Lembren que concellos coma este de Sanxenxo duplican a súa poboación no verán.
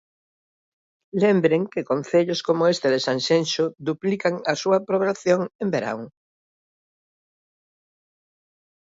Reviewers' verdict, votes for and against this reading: rejected, 1, 2